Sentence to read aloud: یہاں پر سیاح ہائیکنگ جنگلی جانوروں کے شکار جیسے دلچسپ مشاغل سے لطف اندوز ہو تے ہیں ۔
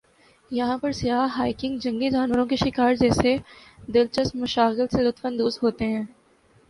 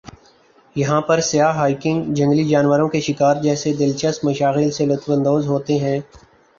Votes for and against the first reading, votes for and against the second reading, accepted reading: 2, 0, 1, 2, first